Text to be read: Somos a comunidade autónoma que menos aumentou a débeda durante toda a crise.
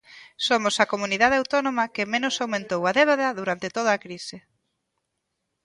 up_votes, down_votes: 1, 2